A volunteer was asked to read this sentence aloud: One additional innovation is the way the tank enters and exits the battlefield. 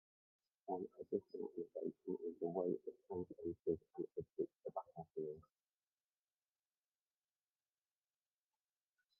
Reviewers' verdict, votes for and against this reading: rejected, 0, 2